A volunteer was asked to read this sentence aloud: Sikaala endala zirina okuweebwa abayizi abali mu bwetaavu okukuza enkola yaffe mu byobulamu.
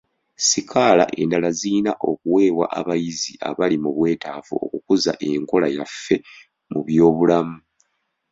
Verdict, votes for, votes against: accepted, 2, 0